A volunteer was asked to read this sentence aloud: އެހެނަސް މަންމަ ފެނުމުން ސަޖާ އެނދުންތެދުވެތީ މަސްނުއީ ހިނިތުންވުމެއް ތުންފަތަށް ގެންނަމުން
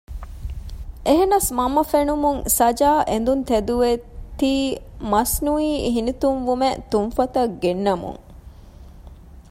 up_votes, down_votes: 1, 2